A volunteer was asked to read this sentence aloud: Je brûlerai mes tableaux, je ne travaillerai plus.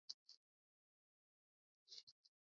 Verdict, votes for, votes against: rejected, 0, 2